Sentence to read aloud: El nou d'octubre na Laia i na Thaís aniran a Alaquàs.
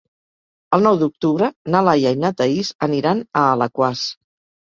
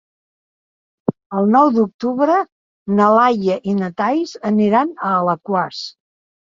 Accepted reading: first